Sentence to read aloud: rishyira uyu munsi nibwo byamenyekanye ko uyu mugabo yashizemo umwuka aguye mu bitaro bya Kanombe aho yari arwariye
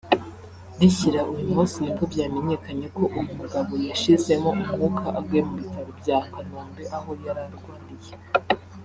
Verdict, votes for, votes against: rejected, 0, 2